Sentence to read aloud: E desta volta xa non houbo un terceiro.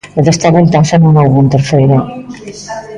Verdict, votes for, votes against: rejected, 0, 2